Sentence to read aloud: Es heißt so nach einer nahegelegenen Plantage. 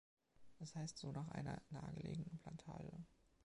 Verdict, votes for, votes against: accepted, 2, 1